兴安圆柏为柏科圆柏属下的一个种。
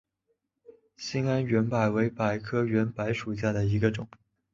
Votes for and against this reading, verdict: 5, 0, accepted